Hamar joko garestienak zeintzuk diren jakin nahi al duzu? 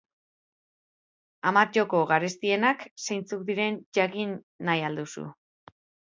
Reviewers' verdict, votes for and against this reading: accepted, 3, 0